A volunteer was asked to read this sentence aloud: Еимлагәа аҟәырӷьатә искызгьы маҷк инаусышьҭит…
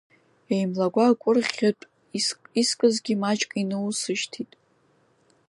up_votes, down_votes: 0, 2